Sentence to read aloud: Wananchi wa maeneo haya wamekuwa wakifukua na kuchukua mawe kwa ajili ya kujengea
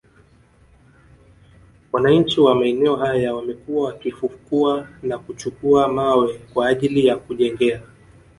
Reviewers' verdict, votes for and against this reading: rejected, 0, 2